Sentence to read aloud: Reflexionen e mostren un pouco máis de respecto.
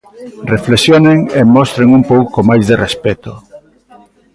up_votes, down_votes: 2, 0